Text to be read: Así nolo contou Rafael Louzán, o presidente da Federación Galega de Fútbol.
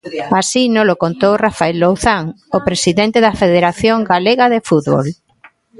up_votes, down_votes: 1, 2